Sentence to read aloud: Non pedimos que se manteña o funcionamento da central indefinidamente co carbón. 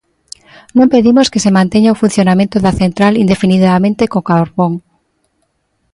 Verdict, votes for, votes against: accepted, 2, 0